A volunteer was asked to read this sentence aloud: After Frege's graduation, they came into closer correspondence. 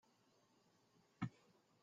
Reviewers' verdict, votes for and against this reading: rejected, 0, 2